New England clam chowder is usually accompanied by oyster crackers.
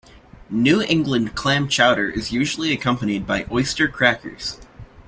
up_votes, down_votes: 2, 0